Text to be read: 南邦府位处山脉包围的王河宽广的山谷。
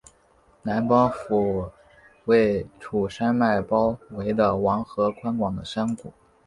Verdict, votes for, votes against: accepted, 2, 0